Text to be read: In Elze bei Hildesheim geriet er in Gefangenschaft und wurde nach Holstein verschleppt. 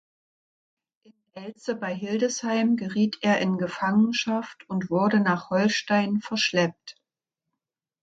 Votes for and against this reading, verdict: 0, 2, rejected